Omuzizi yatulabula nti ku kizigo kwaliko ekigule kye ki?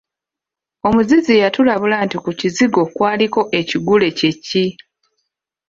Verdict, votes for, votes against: accepted, 2, 0